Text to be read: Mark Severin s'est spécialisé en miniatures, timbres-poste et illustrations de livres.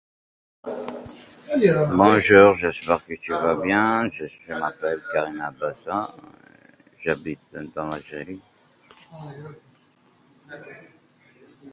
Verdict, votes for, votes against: rejected, 0, 2